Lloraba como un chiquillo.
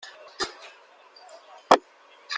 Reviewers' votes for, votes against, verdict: 0, 2, rejected